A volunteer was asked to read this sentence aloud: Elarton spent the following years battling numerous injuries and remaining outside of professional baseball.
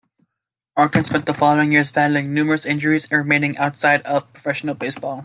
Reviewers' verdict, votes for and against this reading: accepted, 2, 0